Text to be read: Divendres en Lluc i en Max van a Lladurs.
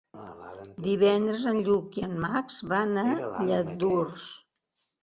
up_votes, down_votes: 2, 0